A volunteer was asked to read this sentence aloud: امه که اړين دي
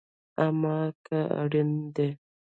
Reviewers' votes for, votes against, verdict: 0, 2, rejected